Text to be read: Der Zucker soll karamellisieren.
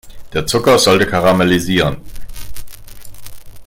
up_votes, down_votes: 0, 3